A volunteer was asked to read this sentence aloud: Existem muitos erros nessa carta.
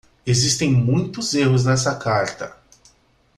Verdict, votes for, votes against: accepted, 2, 0